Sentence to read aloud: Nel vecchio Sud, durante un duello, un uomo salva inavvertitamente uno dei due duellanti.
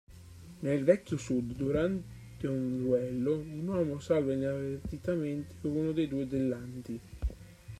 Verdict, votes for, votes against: rejected, 0, 3